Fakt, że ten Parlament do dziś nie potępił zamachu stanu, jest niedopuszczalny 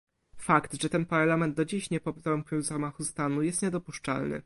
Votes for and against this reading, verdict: 0, 2, rejected